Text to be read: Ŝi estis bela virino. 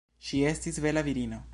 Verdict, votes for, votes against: accepted, 2, 1